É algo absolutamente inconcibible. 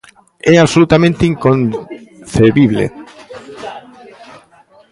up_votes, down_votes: 0, 2